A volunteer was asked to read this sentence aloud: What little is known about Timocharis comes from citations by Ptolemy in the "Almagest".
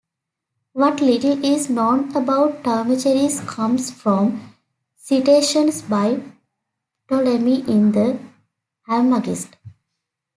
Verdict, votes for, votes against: accepted, 2, 1